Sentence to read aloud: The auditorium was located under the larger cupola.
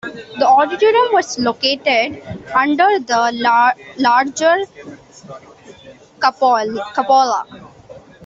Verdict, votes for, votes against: rejected, 0, 2